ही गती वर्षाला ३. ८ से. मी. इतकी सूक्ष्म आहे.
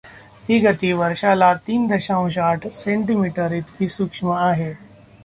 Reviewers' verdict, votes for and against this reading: rejected, 0, 2